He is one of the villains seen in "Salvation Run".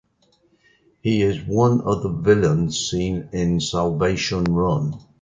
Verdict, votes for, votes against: accepted, 2, 0